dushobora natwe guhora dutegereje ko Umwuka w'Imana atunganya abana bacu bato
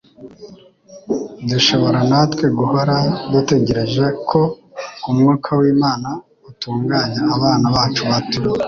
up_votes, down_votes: 1, 2